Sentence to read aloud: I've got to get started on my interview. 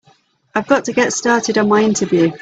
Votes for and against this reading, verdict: 3, 0, accepted